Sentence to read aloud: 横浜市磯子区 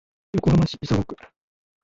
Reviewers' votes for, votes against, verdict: 2, 1, accepted